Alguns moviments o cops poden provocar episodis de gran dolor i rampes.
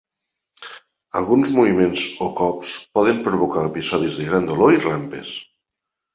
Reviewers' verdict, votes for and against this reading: accepted, 2, 1